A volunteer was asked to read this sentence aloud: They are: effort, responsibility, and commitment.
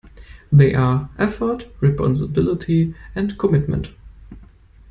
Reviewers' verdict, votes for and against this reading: rejected, 1, 2